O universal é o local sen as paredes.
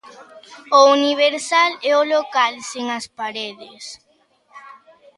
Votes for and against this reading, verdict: 1, 2, rejected